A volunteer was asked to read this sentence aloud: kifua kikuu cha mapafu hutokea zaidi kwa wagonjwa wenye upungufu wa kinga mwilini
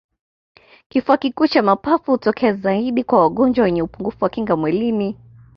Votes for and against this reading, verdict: 2, 0, accepted